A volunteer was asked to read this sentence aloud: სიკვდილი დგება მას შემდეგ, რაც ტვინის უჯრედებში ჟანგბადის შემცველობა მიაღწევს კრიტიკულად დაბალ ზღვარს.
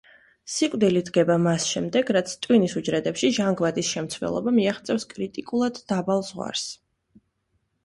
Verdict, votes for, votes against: accepted, 2, 0